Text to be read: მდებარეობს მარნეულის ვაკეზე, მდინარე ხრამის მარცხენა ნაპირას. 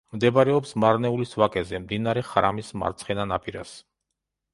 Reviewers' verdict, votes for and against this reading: accepted, 2, 0